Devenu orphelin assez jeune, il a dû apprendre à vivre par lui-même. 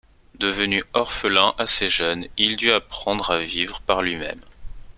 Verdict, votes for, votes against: rejected, 1, 2